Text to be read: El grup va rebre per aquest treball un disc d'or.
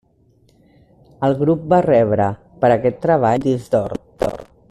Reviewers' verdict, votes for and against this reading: rejected, 1, 2